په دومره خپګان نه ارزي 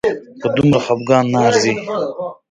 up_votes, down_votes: 2, 0